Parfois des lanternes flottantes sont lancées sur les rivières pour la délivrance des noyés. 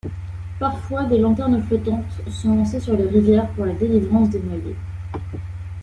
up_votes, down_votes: 0, 2